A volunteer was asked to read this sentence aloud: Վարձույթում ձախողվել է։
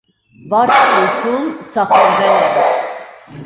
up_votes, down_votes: 0, 2